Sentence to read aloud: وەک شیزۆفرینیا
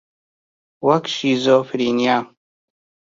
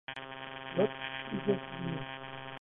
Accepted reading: first